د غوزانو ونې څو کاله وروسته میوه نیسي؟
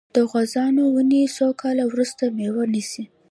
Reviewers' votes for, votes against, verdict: 2, 0, accepted